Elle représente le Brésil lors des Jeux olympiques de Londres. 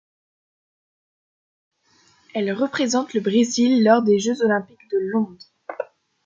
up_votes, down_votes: 2, 1